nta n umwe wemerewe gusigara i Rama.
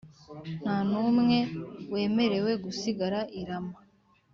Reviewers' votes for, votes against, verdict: 2, 0, accepted